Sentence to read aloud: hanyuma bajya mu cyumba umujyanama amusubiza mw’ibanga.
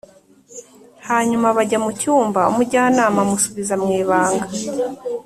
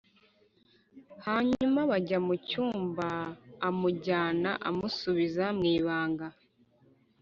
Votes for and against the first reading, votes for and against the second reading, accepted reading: 2, 0, 0, 2, first